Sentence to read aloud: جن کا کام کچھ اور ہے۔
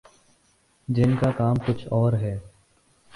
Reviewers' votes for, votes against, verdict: 2, 2, rejected